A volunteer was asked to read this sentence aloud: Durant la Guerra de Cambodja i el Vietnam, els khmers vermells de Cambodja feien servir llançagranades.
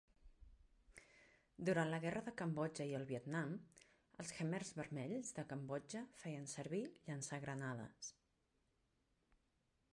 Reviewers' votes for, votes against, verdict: 0, 2, rejected